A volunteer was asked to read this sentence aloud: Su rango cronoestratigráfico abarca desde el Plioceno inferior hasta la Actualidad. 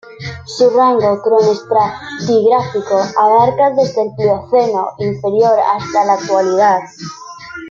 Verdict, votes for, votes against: rejected, 0, 2